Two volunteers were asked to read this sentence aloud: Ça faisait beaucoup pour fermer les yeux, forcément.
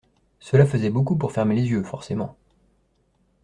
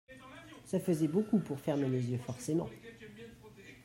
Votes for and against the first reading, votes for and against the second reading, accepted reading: 0, 2, 2, 1, second